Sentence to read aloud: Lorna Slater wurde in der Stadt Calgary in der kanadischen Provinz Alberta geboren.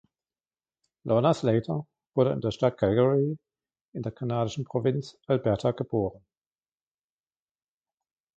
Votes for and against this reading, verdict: 2, 0, accepted